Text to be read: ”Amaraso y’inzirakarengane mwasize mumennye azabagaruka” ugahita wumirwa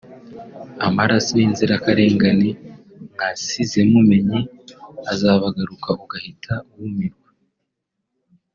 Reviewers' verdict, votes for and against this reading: rejected, 1, 2